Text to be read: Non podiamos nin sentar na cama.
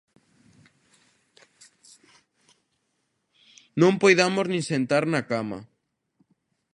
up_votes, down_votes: 0, 2